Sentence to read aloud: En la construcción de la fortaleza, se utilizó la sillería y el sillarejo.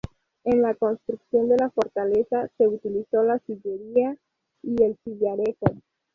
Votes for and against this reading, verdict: 0, 4, rejected